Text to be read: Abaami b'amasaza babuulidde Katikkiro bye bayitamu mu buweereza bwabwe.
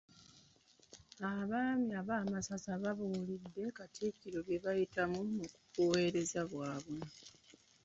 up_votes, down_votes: 2, 1